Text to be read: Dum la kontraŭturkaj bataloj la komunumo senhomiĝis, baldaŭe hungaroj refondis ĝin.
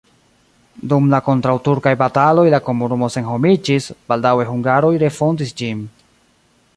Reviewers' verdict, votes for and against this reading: rejected, 0, 2